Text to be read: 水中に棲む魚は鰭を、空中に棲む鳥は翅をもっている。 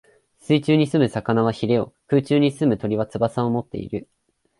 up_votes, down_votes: 3, 0